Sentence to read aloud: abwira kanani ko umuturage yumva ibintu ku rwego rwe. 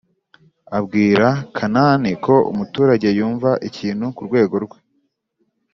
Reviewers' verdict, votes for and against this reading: rejected, 1, 2